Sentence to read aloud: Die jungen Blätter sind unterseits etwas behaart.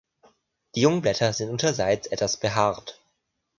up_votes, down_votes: 2, 0